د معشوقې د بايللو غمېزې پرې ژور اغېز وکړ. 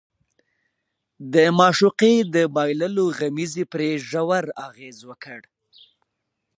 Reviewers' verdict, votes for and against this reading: accepted, 2, 1